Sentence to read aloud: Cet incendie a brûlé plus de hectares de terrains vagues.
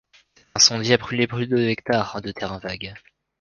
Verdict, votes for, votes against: rejected, 0, 3